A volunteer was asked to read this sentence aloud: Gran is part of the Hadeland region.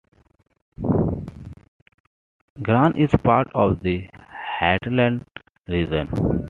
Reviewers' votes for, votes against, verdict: 2, 1, accepted